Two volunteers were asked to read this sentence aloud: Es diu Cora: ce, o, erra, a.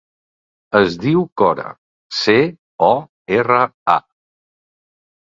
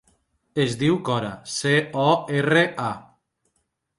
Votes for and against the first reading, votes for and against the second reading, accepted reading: 2, 0, 0, 2, first